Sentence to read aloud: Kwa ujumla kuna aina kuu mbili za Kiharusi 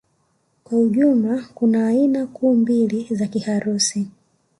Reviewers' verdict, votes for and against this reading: rejected, 1, 2